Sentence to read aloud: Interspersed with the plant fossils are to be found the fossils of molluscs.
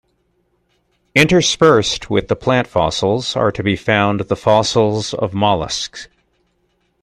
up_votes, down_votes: 2, 0